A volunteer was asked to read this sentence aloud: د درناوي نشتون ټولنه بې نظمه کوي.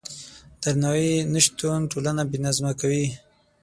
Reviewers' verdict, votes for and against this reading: accepted, 6, 0